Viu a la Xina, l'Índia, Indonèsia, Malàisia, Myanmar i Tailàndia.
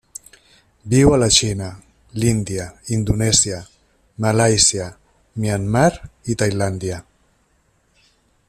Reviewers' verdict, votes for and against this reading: accepted, 3, 0